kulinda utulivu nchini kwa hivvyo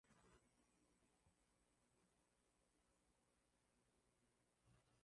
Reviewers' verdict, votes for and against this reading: rejected, 4, 7